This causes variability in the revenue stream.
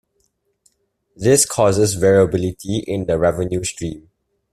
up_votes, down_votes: 2, 0